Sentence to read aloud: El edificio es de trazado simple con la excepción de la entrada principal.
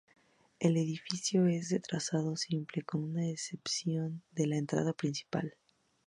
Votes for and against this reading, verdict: 2, 2, rejected